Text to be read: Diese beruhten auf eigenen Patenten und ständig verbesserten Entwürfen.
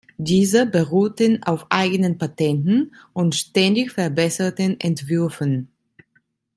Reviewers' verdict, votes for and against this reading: accepted, 2, 0